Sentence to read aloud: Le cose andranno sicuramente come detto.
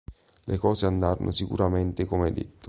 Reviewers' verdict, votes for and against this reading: accepted, 2, 0